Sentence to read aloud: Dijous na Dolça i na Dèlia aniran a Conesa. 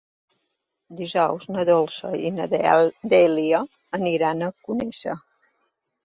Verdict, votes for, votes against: rejected, 1, 3